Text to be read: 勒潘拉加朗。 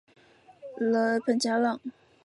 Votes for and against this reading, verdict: 2, 3, rejected